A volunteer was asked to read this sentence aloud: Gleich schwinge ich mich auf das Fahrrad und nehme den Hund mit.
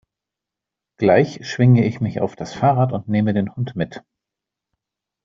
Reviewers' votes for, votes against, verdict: 2, 0, accepted